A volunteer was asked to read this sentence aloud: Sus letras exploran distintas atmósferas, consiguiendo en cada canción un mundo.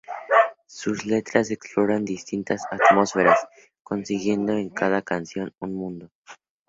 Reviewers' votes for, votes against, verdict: 0, 2, rejected